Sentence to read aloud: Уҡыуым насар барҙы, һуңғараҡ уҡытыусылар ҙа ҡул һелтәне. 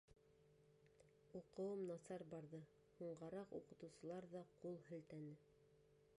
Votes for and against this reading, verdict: 1, 2, rejected